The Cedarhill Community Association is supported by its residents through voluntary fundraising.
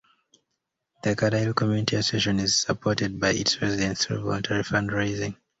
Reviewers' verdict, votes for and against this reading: rejected, 0, 2